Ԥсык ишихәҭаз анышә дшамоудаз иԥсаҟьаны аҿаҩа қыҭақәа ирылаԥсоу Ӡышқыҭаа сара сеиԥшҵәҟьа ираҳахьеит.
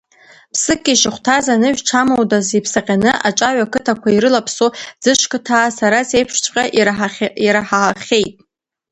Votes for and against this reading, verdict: 0, 2, rejected